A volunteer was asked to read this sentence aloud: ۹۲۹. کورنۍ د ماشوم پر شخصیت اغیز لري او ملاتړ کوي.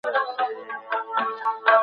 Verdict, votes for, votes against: rejected, 0, 2